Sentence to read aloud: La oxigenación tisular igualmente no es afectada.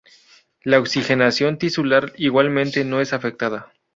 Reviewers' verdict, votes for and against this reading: accepted, 2, 0